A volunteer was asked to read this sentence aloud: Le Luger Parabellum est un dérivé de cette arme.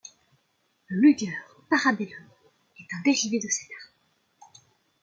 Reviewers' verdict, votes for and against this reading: rejected, 0, 2